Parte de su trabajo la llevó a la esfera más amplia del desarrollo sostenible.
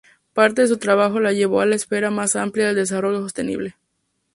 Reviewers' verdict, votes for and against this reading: rejected, 0, 2